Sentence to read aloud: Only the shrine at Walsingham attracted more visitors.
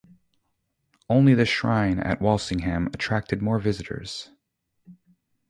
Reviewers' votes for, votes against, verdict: 4, 0, accepted